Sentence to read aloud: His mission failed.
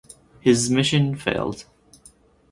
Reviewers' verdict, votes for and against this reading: accepted, 4, 0